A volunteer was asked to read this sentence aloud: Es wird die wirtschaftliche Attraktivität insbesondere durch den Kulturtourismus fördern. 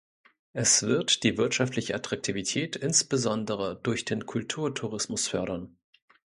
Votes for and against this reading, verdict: 2, 0, accepted